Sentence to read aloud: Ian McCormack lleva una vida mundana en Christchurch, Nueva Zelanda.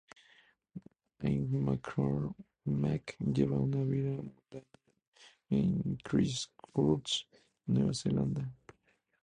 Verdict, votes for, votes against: rejected, 0, 2